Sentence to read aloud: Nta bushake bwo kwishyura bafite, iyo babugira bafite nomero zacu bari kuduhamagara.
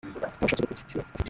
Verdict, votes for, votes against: rejected, 0, 2